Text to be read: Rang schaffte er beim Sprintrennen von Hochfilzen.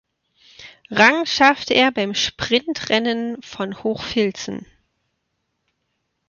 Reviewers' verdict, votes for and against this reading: accepted, 2, 0